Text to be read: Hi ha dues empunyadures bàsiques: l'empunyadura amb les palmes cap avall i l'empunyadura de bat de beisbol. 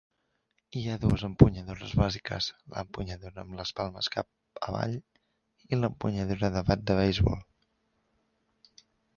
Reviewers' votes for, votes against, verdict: 0, 2, rejected